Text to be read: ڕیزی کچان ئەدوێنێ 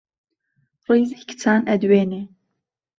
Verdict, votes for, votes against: accepted, 2, 0